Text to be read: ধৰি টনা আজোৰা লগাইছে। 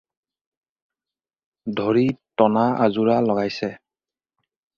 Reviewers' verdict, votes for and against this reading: accepted, 4, 0